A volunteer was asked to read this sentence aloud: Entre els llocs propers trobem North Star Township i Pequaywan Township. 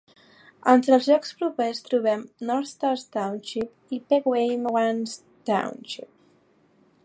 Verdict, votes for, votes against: accepted, 2, 1